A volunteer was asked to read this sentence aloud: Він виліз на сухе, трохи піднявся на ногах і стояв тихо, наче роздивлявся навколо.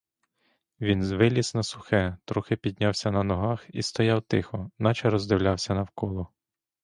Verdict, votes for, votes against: rejected, 0, 2